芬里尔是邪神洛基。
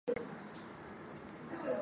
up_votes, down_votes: 1, 3